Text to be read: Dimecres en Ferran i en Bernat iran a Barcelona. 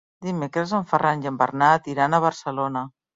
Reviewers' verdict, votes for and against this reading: accepted, 3, 0